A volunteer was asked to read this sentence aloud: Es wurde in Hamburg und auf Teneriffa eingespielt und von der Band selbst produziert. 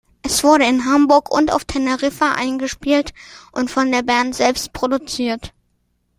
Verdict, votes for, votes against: accepted, 2, 0